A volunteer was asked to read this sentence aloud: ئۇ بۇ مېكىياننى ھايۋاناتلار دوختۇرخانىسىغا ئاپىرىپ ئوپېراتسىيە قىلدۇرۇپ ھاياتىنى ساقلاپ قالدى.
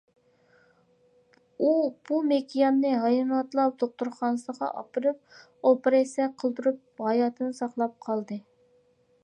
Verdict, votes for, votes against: accepted, 2, 0